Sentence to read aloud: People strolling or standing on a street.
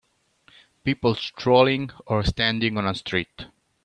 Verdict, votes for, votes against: accepted, 2, 1